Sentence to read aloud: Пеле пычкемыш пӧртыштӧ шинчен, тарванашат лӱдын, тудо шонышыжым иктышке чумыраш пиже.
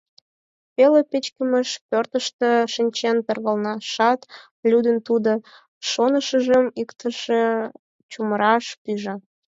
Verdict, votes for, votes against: rejected, 2, 4